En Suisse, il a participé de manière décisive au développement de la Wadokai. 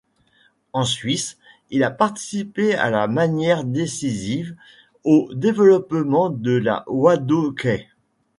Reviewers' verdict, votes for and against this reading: rejected, 1, 2